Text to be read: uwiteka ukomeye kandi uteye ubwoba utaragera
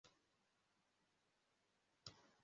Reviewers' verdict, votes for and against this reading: rejected, 0, 2